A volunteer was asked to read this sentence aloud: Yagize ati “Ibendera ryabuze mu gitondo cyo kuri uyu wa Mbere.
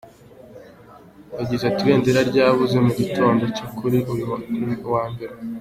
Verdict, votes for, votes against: accepted, 2, 0